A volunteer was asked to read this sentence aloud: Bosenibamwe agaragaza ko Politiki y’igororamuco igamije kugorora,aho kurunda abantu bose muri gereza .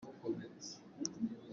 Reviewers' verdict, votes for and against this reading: rejected, 0, 2